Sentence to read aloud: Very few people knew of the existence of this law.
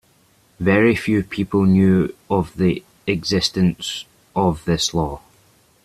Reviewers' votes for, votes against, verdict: 2, 0, accepted